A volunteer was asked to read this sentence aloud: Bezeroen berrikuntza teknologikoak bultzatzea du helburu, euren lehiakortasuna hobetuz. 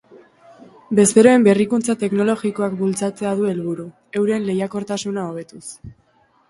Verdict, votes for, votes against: accepted, 2, 0